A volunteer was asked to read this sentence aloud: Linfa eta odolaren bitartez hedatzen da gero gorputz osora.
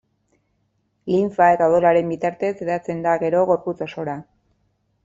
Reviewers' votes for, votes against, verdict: 1, 2, rejected